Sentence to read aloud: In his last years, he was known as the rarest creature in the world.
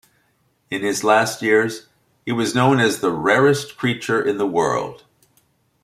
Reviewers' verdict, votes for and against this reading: accepted, 2, 0